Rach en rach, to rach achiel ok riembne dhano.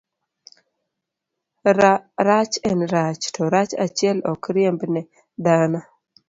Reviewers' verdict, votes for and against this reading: accepted, 2, 0